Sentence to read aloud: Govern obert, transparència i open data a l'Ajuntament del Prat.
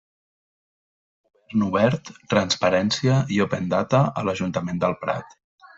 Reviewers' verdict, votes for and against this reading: rejected, 1, 2